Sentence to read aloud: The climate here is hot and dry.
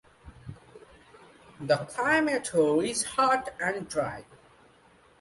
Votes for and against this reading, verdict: 2, 1, accepted